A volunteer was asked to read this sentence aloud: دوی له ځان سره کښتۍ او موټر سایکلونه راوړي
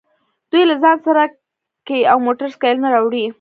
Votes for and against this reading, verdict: 1, 2, rejected